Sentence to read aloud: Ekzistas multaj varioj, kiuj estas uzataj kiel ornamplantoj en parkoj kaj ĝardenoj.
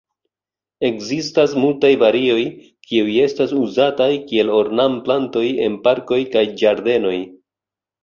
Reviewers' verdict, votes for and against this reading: accepted, 2, 0